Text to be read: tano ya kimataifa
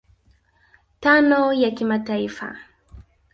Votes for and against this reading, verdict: 0, 2, rejected